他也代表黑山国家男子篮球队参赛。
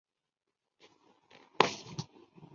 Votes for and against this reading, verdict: 1, 3, rejected